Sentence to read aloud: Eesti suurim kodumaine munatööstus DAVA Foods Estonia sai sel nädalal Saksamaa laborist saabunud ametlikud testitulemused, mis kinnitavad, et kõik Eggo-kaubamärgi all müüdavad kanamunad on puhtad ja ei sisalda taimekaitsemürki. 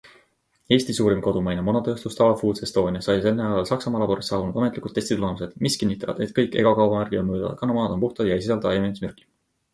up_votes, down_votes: 2, 0